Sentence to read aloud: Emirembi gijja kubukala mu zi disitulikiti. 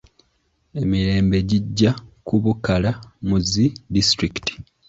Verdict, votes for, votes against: accepted, 2, 1